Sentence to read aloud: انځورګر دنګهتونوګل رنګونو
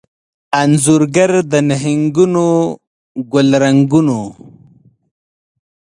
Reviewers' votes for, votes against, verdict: 1, 2, rejected